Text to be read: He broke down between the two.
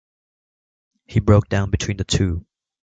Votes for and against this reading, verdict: 2, 0, accepted